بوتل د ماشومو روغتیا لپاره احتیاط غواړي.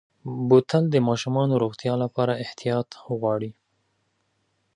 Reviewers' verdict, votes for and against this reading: accepted, 2, 1